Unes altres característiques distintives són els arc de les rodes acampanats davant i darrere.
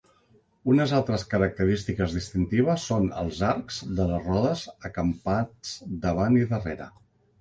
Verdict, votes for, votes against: rejected, 1, 2